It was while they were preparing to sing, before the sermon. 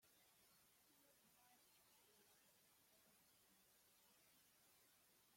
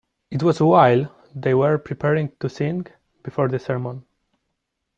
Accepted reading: second